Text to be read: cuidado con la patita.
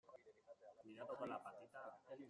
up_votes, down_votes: 0, 2